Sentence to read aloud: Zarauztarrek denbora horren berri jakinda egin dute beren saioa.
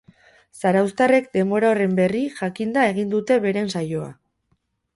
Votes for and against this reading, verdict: 2, 2, rejected